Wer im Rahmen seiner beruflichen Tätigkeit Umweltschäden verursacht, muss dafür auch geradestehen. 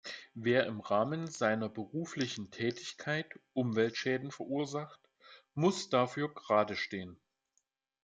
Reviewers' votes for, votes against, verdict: 1, 2, rejected